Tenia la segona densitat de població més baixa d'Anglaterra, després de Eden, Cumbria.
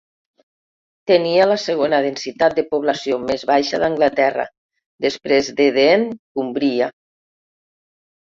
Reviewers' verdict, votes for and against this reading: rejected, 1, 2